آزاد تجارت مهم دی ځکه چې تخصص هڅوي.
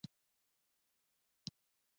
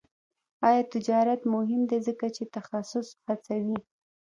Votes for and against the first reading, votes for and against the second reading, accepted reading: 2, 0, 0, 2, first